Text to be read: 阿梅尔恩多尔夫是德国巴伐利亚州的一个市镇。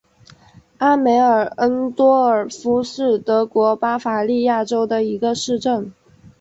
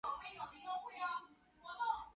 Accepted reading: first